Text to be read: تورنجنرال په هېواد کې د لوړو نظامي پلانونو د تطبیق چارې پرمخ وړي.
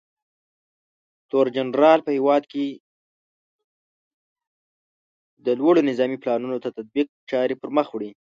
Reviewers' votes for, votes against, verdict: 1, 2, rejected